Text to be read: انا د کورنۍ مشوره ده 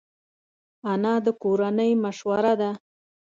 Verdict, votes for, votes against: accepted, 2, 0